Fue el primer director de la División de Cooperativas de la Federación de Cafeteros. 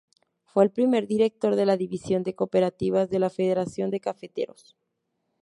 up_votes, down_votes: 2, 0